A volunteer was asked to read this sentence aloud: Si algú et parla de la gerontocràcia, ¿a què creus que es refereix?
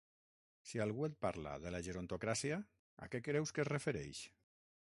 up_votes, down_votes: 3, 6